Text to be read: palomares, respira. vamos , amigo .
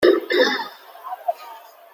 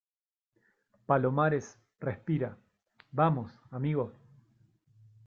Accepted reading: second